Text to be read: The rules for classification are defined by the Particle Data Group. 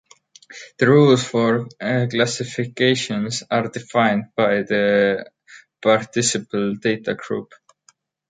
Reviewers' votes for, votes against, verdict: 0, 2, rejected